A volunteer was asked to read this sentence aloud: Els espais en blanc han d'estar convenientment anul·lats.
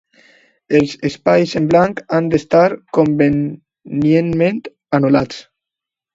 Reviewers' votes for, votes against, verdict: 2, 1, accepted